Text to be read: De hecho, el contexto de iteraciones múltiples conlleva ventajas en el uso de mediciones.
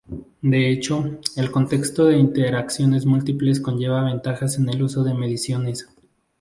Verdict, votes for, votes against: accepted, 2, 0